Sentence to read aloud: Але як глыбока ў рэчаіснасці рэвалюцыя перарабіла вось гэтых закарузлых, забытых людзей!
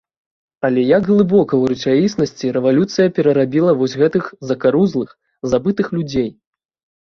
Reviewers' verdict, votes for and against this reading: accepted, 2, 0